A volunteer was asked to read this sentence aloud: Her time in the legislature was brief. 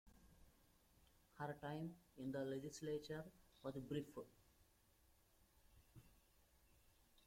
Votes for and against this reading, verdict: 2, 1, accepted